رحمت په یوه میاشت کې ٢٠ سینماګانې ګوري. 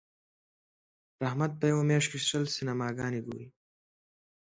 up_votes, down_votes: 0, 2